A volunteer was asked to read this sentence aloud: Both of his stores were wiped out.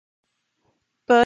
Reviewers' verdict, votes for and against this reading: rejected, 0, 2